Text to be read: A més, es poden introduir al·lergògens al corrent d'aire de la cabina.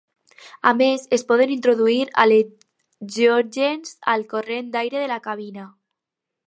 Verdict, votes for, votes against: rejected, 0, 4